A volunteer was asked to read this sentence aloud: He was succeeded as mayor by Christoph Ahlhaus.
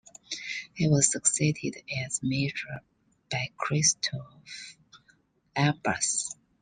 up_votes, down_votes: 0, 2